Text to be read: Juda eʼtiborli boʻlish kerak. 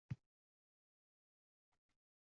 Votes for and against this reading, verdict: 0, 2, rejected